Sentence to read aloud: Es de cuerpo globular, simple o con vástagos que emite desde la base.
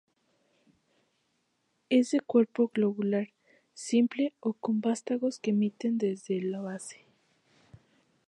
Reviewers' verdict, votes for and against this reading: rejected, 2, 2